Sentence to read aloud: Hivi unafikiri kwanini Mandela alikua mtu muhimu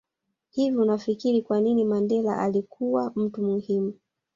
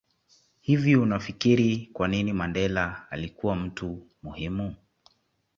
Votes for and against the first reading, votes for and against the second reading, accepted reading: 0, 2, 2, 0, second